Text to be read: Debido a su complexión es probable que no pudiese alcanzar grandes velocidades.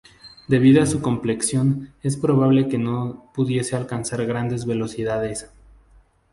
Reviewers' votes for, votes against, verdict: 2, 0, accepted